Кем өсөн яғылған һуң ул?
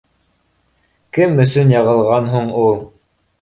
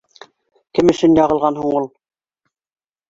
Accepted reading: first